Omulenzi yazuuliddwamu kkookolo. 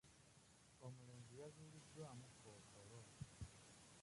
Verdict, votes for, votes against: rejected, 0, 2